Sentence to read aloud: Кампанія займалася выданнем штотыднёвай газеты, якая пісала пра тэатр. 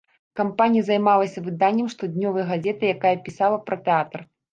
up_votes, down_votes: 1, 2